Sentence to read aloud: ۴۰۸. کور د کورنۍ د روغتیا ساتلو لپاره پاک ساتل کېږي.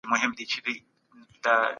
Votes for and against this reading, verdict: 0, 2, rejected